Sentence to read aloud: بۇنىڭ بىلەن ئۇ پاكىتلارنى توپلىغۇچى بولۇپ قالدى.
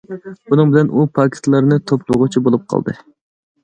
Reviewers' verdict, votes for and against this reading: accepted, 2, 0